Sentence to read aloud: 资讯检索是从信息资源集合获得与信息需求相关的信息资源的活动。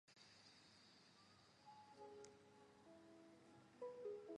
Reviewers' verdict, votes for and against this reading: rejected, 0, 2